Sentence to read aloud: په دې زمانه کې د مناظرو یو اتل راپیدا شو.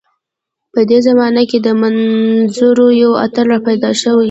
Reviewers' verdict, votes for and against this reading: rejected, 0, 2